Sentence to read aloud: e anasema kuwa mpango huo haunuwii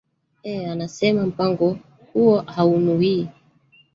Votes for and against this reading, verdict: 1, 2, rejected